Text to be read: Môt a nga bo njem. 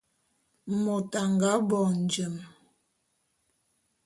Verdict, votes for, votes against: accepted, 2, 0